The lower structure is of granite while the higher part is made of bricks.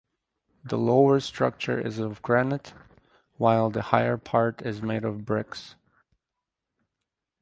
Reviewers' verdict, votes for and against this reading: accepted, 4, 2